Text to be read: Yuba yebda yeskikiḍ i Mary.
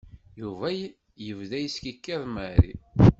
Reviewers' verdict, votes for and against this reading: rejected, 0, 2